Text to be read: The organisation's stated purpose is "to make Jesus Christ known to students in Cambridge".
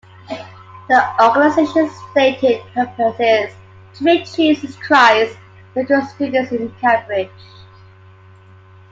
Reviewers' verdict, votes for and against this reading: accepted, 2, 1